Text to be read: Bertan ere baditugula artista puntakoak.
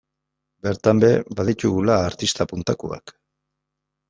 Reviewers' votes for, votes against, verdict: 1, 2, rejected